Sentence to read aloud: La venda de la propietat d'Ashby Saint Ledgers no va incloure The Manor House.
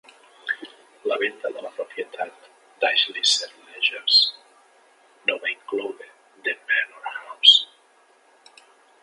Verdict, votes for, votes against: rejected, 1, 2